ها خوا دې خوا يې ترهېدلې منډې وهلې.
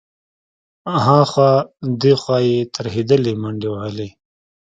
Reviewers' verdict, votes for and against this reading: accepted, 2, 0